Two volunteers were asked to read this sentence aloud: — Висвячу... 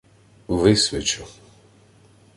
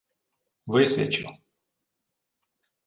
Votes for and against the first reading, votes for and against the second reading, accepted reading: 2, 0, 1, 2, first